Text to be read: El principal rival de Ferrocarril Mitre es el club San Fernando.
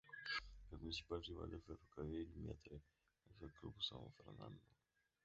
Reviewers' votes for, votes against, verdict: 0, 2, rejected